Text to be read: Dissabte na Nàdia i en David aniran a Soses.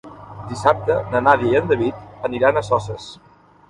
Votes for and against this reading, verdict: 1, 2, rejected